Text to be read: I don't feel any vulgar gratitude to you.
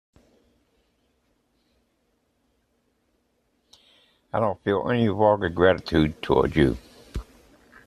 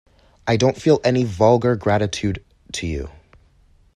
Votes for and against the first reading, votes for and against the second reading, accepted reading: 0, 2, 2, 0, second